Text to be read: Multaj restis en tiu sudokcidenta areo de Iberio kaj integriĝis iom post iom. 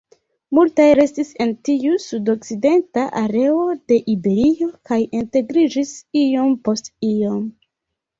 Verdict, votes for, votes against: rejected, 1, 2